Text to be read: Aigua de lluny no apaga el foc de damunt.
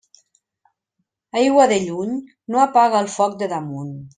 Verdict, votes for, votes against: accepted, 3, 0